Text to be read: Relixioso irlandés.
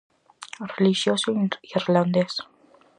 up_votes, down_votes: 4, 2